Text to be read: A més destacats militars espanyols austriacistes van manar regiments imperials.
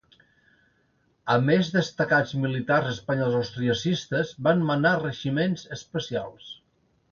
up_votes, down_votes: 0, 2